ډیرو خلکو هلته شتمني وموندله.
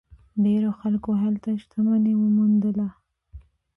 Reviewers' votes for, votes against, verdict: 0, 2, rejected